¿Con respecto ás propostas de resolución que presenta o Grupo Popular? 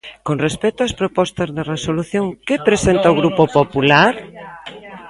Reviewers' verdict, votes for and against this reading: accepted, 2, 1